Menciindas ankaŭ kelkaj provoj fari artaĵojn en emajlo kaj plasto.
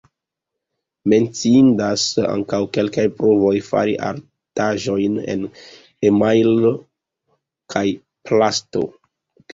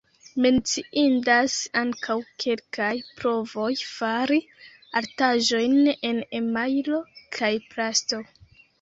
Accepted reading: first